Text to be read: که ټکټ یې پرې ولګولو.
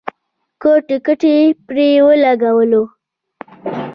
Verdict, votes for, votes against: rejected, 0, 2